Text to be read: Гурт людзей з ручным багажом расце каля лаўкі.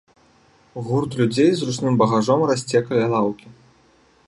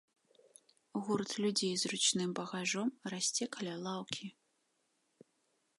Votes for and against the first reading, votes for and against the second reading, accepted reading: 2, 0, 1, 2, first